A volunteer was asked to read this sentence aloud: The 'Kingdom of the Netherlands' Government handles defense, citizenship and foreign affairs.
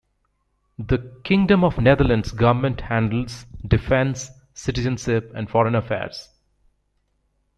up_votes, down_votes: 0, 2